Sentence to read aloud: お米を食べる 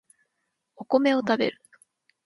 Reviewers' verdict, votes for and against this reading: accepted, 2, 0